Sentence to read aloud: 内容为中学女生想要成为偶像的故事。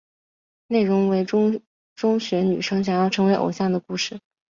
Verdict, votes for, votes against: rejected, 1, 3